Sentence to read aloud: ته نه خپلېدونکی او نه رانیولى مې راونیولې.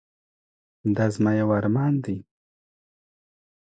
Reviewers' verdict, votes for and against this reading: rejected, 1, 2